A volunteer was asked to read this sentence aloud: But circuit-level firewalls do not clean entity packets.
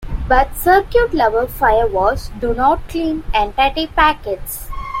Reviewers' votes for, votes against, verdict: 2, 0, accepted